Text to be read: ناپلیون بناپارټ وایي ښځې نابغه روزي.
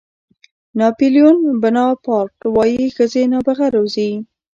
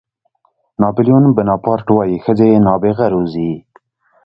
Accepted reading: second